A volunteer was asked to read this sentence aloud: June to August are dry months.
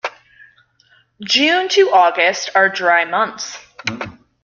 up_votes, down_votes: 2, 0